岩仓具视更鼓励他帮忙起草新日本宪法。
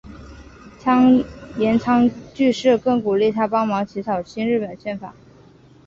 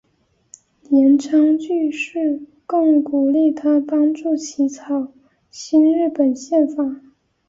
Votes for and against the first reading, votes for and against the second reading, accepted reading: 5, 0, 2, 3, first